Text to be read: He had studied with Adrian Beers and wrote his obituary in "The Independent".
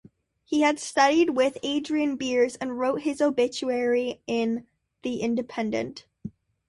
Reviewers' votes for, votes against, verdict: 2, 0, accepted